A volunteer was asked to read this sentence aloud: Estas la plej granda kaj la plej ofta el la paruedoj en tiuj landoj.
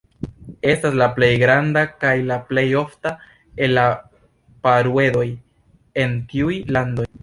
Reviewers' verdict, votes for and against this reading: accepted, 2, 0